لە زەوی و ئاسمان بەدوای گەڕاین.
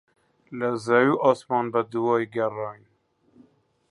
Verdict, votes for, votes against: rejected, 0, 2